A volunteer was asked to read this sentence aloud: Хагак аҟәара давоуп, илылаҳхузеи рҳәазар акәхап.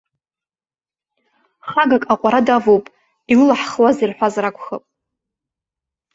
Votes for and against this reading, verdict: 3, 1, accepted